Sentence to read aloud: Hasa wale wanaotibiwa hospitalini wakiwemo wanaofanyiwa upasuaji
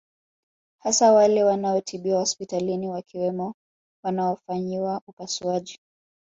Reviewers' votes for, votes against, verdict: 5, 0, accepted